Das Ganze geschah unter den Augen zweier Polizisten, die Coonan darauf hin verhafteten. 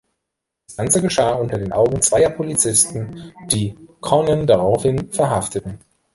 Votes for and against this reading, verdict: 2, 3, rejected